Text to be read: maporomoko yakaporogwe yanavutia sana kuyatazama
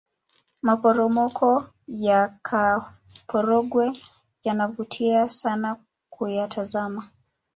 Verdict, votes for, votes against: accepted, 2, 0